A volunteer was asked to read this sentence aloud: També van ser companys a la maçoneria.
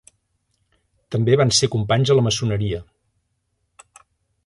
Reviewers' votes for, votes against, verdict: 3, 0, accepted